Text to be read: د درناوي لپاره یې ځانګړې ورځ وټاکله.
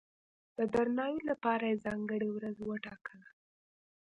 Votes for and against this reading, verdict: 2, 1, accepted